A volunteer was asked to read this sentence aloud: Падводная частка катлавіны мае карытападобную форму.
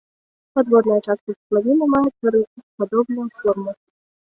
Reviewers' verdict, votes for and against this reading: rejected, 1, 2